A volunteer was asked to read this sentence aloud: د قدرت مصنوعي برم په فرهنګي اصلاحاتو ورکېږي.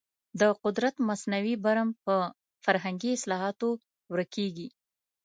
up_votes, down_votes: 2, 0